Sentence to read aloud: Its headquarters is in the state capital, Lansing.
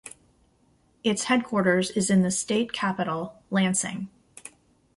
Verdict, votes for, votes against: accepted, 2, 0